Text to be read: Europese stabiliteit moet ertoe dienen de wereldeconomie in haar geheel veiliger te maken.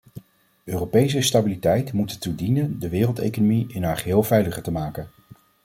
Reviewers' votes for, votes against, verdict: 2, 0, accepted